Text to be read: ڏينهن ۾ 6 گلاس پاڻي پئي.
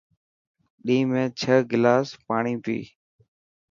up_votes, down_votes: 0, 2